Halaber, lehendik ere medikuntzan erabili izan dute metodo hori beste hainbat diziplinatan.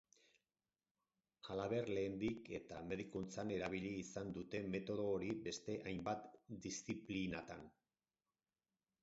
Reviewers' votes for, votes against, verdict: 2, 4, rejected